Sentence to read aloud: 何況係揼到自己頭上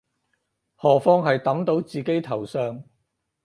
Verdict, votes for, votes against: accepted, 4, 0